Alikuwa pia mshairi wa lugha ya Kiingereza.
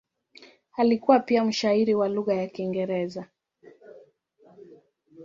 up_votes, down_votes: 1, 2